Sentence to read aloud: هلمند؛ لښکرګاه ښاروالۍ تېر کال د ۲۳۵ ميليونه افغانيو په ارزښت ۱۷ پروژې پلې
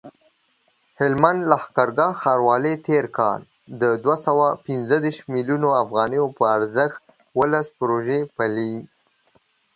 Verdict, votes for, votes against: rejected, 0, 2